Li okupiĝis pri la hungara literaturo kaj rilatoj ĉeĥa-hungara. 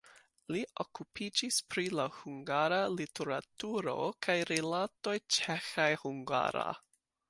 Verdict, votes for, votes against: rejected, 0, 2